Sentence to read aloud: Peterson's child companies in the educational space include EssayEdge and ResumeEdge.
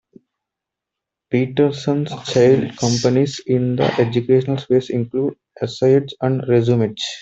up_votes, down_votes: 1, 2